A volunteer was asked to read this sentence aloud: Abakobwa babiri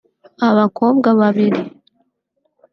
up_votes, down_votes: 2, 0